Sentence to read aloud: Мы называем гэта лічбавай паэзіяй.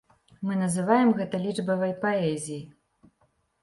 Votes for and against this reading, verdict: 2, 0, accepted